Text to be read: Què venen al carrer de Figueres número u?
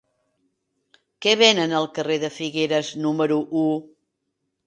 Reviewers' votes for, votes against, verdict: 3, 1, accepted